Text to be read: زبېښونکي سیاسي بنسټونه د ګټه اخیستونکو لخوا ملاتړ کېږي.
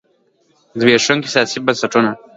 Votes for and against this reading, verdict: 2, 0, accepted